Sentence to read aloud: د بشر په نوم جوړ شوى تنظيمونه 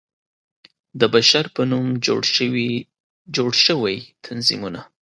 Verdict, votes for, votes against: accepted, 2, 0